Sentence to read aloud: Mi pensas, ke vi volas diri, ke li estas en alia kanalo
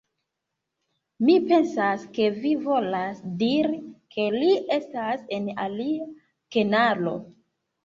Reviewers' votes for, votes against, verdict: 1, 2, rejected